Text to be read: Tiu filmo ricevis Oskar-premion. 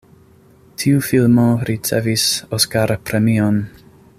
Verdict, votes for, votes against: accepted, 2, 0